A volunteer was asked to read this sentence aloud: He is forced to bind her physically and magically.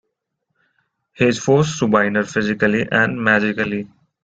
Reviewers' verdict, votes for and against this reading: rejected, 1, 2